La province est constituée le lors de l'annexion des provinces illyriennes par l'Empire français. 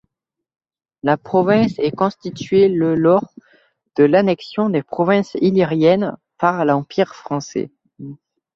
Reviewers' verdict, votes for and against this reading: rejected, 1, 2